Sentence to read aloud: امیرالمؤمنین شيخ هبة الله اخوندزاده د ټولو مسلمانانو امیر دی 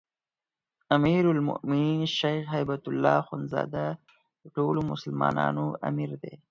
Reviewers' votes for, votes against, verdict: 0, 4, rejected